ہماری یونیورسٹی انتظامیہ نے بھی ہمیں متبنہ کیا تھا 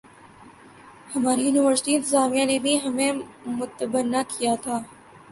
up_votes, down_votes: 1, 2